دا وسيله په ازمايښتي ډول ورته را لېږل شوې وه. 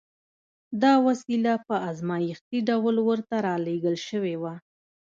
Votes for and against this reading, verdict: 0, 2, rejected